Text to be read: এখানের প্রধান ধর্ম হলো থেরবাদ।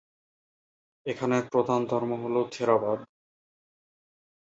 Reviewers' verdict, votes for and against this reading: accepted, 3, 1